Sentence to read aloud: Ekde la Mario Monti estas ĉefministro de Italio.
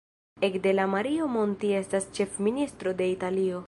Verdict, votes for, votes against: rejected, 1, 2